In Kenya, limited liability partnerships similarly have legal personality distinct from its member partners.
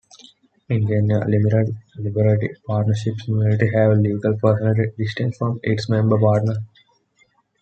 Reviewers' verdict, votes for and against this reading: rejected, 0, 2